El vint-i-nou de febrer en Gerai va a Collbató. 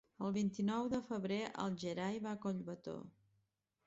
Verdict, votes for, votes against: rejected, 1, 2